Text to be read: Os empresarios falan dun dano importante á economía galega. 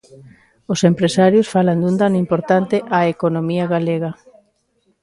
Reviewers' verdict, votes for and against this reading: accepted, 2, 0